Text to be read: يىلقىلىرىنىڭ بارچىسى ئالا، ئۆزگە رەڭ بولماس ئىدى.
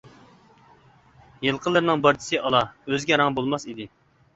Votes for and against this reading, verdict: 2, 0, accepted